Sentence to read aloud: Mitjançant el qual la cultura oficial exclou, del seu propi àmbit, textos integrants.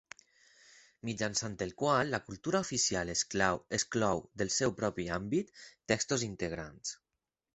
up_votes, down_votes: 2, 4